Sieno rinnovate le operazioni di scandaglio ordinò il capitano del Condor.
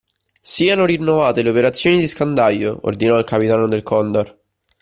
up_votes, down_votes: 2, 1